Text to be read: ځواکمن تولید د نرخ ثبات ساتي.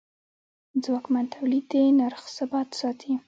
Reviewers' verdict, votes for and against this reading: rejected, 1, 2